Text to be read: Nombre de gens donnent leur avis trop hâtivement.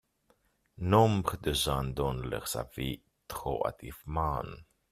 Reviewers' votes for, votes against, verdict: 0, 2, rejected